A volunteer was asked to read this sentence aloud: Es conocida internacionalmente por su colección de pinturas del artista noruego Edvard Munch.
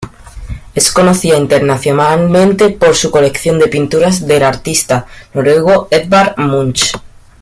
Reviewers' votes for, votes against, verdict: 2, 0, accepted